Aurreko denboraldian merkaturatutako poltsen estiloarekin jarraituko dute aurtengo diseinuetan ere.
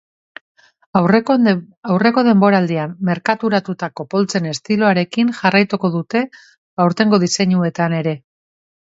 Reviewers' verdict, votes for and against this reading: rejected, 0, 3